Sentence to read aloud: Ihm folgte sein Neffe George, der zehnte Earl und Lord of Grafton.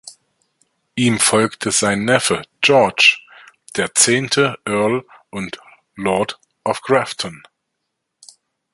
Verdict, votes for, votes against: accepted, 2, 0